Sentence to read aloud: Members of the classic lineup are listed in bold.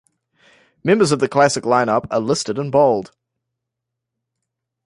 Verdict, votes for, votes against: accepted, 2, 1